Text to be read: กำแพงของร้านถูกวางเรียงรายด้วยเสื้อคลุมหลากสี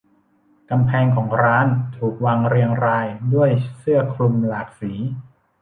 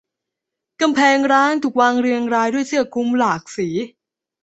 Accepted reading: first